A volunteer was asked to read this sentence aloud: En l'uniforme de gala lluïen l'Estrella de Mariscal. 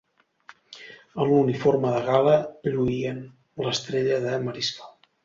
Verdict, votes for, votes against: accepted, 2, 0